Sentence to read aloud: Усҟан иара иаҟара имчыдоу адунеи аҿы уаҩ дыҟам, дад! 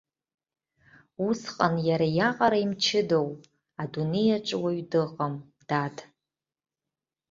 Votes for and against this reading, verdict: 2, 1, accepted